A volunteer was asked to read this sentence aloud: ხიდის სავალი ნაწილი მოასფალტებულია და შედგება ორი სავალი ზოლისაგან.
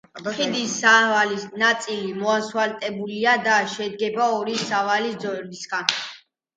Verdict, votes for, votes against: accepted, 2, 1